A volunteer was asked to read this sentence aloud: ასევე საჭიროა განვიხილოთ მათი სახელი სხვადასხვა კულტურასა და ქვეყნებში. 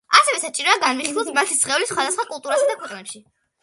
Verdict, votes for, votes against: rejected, 1, 2